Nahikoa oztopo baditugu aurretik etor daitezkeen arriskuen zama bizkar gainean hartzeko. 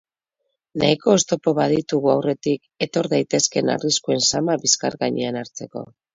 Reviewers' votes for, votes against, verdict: 2, 2, rejected